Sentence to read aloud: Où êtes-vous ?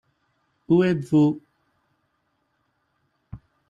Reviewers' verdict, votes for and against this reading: accepted, 2, 0